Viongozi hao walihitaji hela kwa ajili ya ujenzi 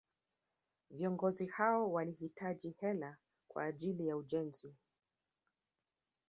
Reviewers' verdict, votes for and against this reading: accepted, 3, 0